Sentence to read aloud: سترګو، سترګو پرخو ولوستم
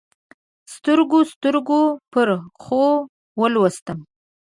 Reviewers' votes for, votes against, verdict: 2, 0, accepted